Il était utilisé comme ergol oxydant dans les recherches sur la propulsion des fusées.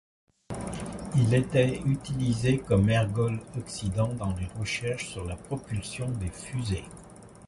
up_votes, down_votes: 2, 1